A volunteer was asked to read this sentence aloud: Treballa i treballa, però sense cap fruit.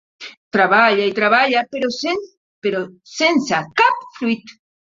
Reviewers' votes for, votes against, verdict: 0, 2, rejected